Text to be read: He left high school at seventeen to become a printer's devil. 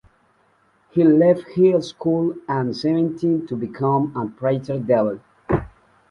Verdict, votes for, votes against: rejected, 0, 2